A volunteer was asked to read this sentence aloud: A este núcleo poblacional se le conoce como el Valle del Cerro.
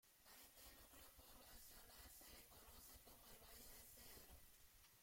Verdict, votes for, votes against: rejected, 0, 2